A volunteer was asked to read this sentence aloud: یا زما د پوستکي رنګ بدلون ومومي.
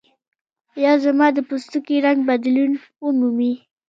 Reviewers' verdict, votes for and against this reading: accepted, 2, 0